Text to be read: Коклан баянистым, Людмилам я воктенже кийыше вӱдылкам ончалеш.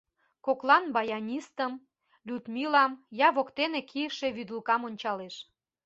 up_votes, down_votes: 0, 2